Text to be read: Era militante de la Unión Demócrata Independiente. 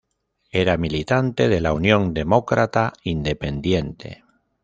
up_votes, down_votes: 2, 0